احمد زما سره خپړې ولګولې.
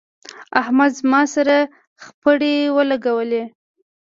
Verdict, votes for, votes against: accepted, 2, 0